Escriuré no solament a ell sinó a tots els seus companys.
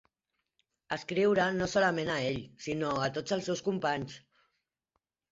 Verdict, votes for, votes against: rejected, 2, 3